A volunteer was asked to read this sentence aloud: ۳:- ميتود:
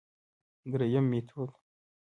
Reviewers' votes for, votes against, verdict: 0, 2, rejected